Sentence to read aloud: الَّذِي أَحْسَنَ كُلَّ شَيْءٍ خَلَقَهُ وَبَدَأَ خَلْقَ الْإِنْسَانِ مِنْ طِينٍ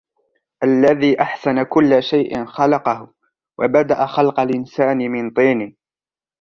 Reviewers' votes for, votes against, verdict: 2, 0, accepted